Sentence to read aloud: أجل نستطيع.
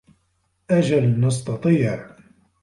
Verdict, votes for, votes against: accepted, 2, 1